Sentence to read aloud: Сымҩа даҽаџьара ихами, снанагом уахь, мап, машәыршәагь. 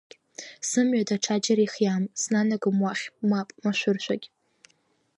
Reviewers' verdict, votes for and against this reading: rejected, 1, 3